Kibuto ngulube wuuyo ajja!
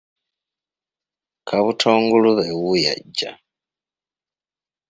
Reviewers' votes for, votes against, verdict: 1, 2, rejected